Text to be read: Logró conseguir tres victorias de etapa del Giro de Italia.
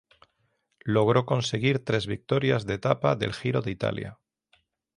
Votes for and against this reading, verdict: 3, 0, accepted